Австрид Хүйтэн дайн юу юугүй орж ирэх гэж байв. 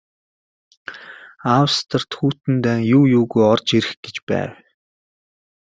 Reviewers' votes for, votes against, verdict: 1, 2, rejected